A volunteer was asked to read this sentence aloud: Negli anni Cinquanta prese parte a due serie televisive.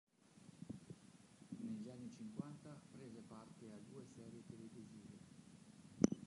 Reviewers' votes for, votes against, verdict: 0, 2, rejected